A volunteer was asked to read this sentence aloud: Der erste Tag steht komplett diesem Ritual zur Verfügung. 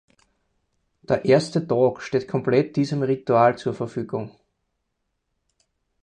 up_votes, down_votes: 0, 4